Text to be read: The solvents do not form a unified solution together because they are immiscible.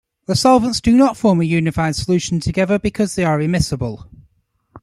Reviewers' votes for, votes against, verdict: 2, 1, accepted